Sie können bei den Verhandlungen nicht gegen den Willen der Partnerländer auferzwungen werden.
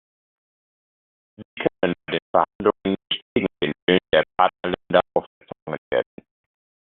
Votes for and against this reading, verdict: 0, 2, rejected